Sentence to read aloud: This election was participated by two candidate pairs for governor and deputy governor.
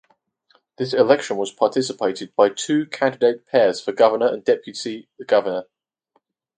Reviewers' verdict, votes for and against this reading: accepted, 4, 0